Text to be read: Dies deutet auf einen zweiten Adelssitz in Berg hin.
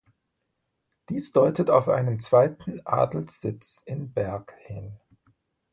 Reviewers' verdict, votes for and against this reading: accepted, 2, 0